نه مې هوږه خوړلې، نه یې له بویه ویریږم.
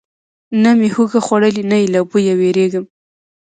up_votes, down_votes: 2, 0